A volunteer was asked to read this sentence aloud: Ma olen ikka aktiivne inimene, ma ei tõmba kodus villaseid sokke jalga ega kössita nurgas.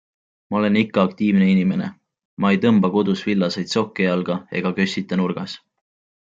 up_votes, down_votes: 2, 0